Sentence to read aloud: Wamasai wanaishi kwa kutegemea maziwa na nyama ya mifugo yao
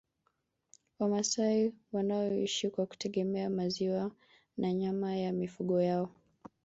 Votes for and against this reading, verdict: 2, 3, rejected